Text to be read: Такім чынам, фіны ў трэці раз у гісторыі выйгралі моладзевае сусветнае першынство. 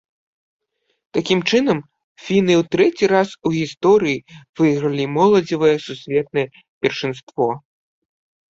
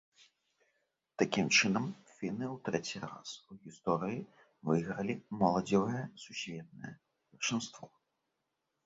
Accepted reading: first